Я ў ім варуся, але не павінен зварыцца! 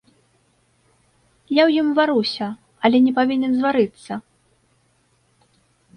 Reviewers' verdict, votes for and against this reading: accepted, 2, 0